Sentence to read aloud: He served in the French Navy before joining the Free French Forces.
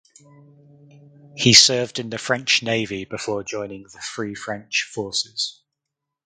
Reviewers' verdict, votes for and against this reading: accepted, 4, 0